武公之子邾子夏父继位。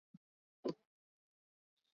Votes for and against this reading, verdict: 0, 2, rejected